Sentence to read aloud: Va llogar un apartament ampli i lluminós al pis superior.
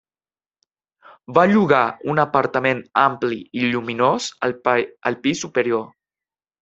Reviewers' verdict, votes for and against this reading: rejected, 2, 4